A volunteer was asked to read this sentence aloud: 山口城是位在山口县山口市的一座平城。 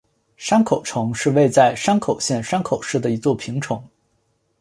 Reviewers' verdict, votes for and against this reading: rejected, 0, 2